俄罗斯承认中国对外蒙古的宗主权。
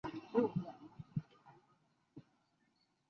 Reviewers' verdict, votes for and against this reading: rejected, 0, 2